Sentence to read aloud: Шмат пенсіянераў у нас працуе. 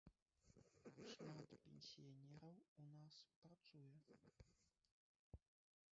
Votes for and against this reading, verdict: 1, 2, rejected